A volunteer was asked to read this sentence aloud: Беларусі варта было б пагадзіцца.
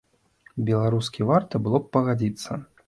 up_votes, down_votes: 1, 2